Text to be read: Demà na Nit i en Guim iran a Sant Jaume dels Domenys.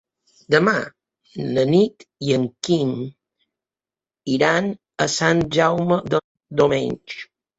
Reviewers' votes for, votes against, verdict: 0, 2, rejected